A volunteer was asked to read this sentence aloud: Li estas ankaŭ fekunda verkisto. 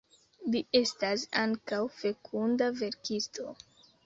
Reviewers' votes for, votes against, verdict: 2, 0, accepted